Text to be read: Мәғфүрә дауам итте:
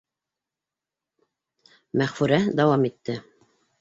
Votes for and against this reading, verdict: 2, 0, accepted